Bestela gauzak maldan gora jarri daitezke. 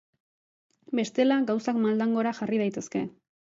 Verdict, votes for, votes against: accepted, 2, 0